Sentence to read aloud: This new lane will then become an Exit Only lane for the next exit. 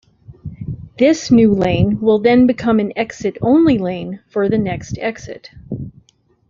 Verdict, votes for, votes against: accepted, 2, 0